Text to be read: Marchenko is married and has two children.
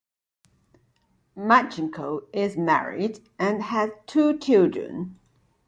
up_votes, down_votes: 2, 0